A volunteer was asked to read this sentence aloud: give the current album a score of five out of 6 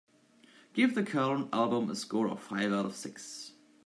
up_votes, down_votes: 0, 2